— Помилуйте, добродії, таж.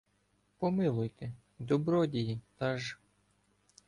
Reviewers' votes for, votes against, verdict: 2, 0, accepted